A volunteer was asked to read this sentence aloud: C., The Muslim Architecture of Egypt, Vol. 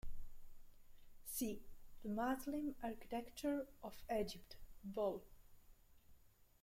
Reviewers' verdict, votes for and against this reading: rejected, 1, 2